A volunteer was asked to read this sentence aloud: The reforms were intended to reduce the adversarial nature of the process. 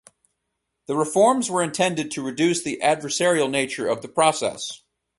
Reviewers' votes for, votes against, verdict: 4, 0, accepted